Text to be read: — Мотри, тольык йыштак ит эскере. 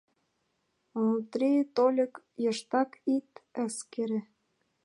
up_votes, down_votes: 2, 3